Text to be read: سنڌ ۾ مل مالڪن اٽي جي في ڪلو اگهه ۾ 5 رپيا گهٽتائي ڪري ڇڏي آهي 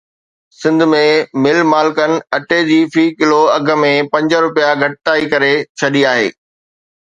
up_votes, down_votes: 0, 2